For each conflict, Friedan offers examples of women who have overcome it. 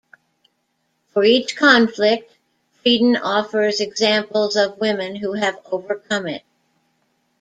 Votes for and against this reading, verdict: 1, 2, rejected